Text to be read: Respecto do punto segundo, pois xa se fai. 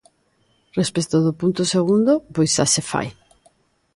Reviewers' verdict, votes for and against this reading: accepted, 2, 0